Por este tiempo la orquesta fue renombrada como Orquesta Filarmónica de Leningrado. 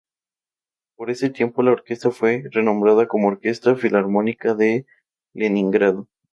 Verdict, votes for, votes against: rejected, 0, 2